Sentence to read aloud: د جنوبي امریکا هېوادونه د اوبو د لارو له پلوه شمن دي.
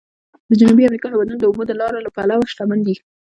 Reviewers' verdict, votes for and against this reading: rejected, 0, 2